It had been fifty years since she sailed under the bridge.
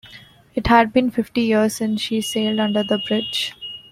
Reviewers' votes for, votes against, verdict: 2, 0, accepted